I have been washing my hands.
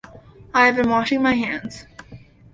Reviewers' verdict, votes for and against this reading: accepted, 2, 0